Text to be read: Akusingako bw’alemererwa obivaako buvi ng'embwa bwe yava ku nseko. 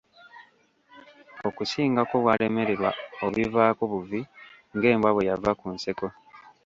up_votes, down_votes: 0, 2